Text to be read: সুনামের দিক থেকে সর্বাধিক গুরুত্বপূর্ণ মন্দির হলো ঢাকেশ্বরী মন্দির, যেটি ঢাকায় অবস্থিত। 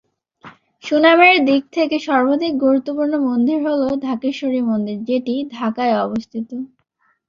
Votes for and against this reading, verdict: 0, 2, rejected